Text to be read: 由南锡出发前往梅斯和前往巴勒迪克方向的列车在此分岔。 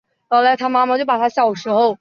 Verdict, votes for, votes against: rejected, 0, 2